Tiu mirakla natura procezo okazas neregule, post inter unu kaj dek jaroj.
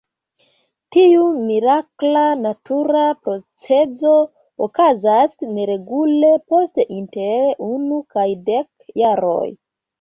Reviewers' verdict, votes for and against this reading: accepted, 2, 0